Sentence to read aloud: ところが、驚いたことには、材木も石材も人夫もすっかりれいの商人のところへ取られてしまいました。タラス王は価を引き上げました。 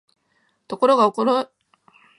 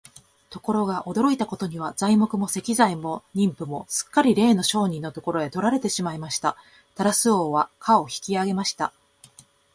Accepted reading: second